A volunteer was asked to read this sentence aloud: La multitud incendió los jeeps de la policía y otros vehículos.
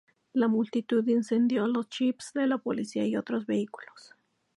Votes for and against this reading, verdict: 2, 0, accepted